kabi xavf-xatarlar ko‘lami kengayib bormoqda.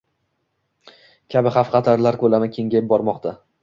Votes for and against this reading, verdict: 1, 2, rejected